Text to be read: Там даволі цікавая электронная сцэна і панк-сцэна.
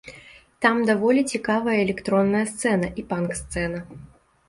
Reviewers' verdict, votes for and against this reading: accepted, 2, 0